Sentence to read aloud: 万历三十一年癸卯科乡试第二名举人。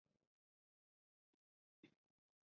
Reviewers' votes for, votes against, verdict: 2, 4, rejected